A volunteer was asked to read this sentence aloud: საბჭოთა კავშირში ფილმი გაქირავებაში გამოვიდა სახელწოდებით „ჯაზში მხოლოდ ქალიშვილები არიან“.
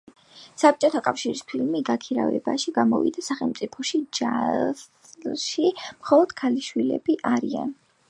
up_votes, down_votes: 0, 2